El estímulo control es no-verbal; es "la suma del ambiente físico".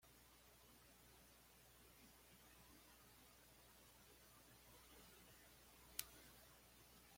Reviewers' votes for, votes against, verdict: 1, 2, rejected